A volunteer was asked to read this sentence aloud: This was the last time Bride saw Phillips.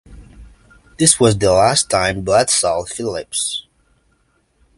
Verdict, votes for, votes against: accepted, 2, 0